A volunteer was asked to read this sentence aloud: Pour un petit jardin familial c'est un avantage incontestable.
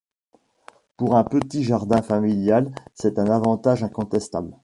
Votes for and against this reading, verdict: 2, 1, accepted